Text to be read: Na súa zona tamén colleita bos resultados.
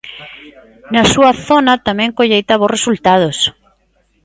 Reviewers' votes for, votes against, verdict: 2, 0, accepted